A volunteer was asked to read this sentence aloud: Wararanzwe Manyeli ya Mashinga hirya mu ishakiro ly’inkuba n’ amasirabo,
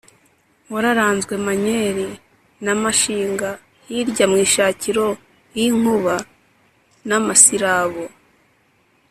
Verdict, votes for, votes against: accepted, 2, 0